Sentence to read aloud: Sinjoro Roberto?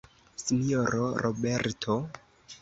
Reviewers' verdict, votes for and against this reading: rejected, 0, 2